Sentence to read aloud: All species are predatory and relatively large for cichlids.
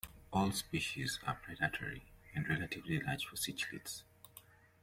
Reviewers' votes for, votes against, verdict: 2, 1, accepted